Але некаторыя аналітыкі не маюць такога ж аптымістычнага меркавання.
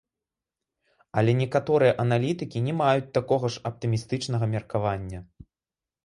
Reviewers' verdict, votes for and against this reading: accepted, 2, 0